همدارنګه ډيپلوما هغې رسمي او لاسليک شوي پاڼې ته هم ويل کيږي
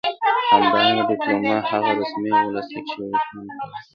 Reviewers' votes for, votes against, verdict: 0, 2, rejected